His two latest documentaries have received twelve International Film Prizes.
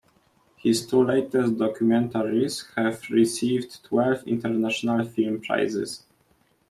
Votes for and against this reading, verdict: 2, 0, accepted